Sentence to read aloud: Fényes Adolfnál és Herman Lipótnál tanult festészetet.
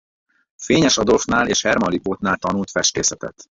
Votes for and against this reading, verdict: 0, 4, rejected